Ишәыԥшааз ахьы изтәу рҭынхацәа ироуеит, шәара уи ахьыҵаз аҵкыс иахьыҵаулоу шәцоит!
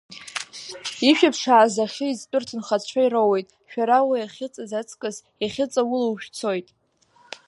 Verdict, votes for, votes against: accepted, 2, 0